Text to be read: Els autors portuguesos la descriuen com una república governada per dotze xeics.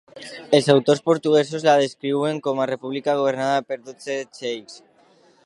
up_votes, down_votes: 1, 2